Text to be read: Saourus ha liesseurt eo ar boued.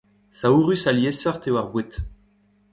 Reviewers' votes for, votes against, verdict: 1, 2, rejected